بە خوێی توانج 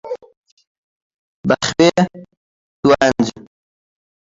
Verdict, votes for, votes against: rejected, 0, 2